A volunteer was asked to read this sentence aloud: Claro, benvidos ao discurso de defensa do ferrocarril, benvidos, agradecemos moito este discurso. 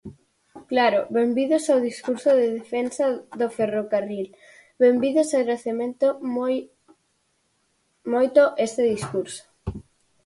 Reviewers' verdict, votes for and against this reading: rejected, 0, 4